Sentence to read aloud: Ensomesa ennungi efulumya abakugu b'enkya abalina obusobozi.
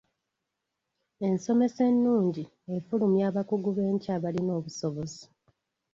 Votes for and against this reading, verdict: 2, 0, accepted